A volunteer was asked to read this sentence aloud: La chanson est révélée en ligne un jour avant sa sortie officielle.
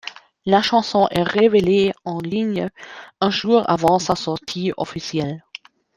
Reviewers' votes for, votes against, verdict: 2, 0, accepted